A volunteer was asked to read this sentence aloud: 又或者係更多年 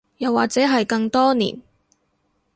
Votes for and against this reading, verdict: 2, 0, accepted